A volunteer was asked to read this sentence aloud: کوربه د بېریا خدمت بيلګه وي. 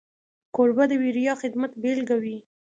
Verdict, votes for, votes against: accepted, 2, 0